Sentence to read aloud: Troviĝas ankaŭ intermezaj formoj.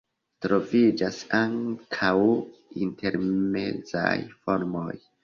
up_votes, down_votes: 2, 1